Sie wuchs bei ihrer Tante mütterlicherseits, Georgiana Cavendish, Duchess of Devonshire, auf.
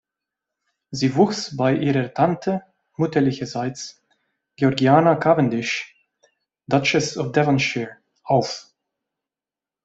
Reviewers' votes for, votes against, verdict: 2, 0, accepted